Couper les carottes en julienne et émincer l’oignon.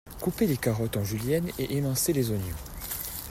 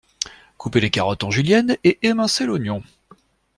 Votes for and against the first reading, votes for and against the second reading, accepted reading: 0, 2, 2, 0, second